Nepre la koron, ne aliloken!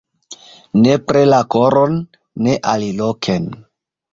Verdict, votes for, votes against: accepted, 2, 0